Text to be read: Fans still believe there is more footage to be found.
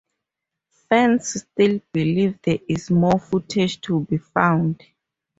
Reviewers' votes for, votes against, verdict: 2, 0, accepted